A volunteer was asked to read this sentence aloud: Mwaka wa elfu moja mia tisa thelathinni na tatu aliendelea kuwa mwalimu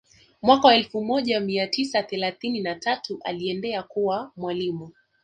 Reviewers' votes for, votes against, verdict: 2, 0, accepted